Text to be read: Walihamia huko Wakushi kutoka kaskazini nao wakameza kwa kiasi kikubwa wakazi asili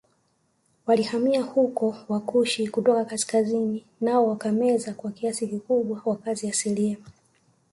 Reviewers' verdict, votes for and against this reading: accepted, 2, 0